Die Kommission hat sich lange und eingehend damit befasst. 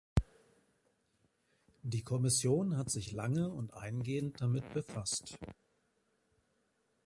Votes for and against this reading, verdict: 2, 0, accepted